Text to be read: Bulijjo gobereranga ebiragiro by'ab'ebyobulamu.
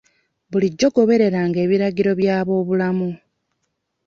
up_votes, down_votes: 2, 1